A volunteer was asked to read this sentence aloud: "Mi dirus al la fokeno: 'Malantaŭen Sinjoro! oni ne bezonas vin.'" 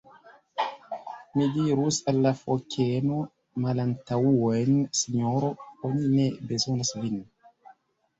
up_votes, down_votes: 0, 2